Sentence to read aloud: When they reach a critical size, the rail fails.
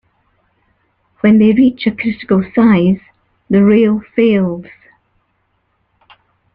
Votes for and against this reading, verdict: 2, 0, accepted